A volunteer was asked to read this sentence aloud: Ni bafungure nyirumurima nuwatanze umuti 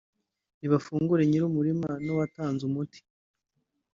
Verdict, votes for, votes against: rejected, 1, 2